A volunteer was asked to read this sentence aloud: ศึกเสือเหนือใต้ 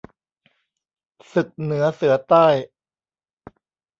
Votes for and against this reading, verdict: 1, 2, rejected